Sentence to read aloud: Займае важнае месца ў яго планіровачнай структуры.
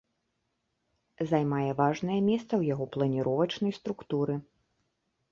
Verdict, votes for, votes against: accepted, 2, 0